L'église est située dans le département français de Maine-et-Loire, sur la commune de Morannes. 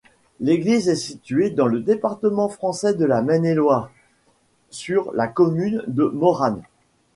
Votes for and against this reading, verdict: 0, 2, rejected